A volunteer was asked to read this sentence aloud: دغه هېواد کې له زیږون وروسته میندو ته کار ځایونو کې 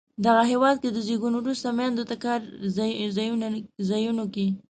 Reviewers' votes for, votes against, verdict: 1, 2, rejected